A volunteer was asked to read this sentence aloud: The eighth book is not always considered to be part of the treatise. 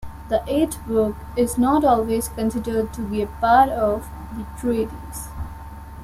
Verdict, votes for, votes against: rejected, 0, 2